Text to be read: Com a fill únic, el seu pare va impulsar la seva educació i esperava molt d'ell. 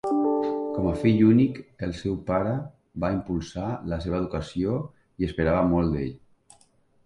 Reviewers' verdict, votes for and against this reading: accepted, 3, 0